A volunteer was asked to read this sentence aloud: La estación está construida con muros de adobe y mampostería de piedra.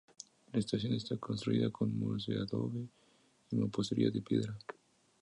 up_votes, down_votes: 2, 0